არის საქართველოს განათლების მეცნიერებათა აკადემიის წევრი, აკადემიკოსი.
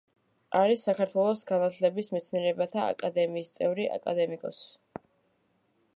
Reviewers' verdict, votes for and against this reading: rejected, 1, 2